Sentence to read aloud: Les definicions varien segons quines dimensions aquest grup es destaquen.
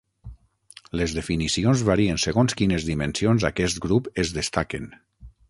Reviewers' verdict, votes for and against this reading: accepted, 9, 0